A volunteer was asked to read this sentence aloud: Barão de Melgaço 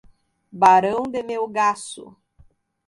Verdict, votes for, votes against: accepted, 2, 0